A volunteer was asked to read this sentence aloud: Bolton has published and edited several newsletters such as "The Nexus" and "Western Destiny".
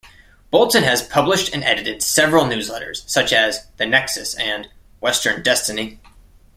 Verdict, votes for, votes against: accepted, 2, 0